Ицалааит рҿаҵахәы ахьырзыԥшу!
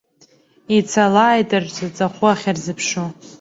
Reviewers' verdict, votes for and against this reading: rejected, 1, 2